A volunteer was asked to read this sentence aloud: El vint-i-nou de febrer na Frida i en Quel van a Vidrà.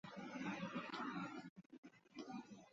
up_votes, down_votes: 0, 2